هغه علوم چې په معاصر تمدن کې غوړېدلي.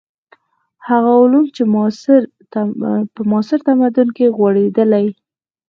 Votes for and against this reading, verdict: 4, 2, accepted